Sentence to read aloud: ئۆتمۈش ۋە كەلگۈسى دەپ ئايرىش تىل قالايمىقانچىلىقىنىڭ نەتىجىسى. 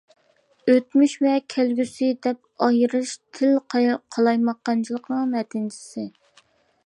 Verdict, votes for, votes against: rejected, 0, 2